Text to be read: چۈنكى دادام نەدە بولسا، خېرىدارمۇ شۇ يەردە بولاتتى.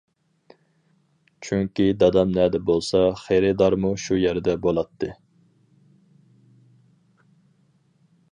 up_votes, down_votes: 4, 0